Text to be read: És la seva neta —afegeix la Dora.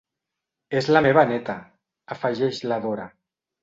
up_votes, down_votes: 0, 2